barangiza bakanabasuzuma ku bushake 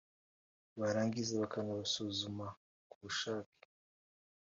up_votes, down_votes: 2, 0